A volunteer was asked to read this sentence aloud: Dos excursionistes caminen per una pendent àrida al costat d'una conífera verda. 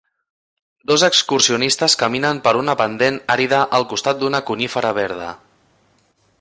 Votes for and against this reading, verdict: 2, 0, accepted